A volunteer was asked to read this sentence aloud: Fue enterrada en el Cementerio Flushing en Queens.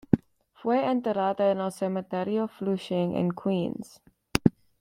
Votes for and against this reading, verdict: 2, 0, accepted